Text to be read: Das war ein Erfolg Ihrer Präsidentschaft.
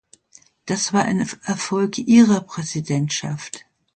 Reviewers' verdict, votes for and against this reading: rejected, 0, 2